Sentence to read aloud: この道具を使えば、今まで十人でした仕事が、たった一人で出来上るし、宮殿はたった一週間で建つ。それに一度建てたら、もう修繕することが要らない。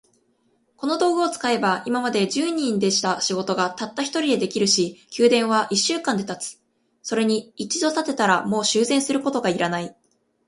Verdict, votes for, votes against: rejected, 1, 2